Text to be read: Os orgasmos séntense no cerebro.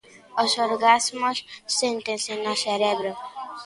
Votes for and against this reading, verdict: 0, 2, rejected